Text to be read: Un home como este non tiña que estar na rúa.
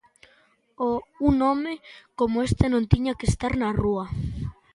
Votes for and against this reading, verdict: 0, 2, rejected